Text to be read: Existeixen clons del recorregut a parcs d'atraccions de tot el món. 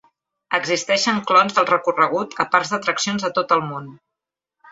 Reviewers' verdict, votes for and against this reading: accepted, 2, 0